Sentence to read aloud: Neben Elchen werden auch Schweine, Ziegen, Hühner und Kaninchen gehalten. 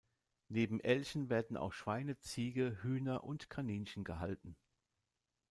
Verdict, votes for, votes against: rejected, 0, 2